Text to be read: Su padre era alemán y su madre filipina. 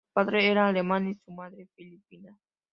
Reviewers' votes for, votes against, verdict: 0, 2, rejected